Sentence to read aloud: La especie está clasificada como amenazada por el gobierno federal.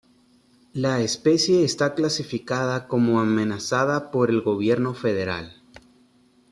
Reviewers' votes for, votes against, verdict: 2, 0, accepted